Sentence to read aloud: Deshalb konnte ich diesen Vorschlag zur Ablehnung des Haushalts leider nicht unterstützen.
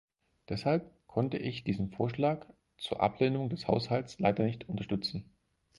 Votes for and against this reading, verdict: 4, 0, accepted